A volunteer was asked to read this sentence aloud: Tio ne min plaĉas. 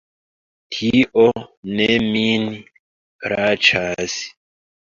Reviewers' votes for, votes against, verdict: 2, 0, accepted